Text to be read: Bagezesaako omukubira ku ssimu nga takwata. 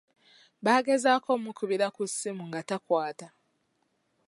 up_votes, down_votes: 1, 2